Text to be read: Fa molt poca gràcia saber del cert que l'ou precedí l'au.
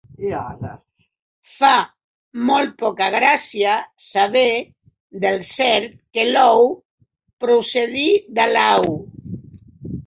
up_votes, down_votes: 0, 4